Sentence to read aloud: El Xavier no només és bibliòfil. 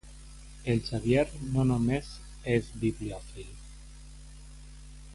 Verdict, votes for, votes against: accepted, 2, 0